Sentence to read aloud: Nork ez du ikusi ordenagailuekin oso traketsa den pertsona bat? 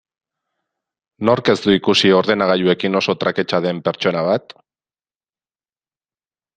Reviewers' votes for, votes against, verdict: 2, 0, accepted